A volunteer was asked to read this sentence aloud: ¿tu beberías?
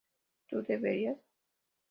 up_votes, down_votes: 0, 2